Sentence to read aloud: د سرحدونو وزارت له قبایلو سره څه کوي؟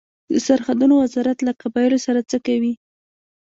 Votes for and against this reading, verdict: 1, 2, rejected